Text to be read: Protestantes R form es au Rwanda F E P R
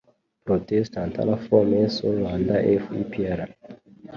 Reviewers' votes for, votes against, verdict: 1, 2, rejected